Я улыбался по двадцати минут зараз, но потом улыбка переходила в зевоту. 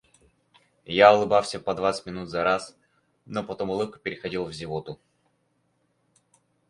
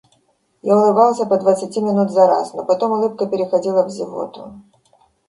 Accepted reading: second